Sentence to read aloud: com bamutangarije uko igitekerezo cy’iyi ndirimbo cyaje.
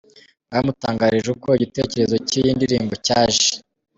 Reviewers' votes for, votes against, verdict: 2, 1, accepted